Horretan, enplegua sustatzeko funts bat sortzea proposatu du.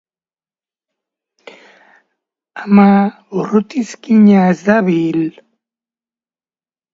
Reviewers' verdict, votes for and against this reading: rejected, 0, 2